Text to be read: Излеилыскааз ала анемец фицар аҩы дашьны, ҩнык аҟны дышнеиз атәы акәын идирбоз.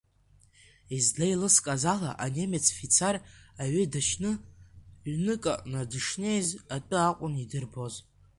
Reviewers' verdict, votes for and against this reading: accepted, 2, 1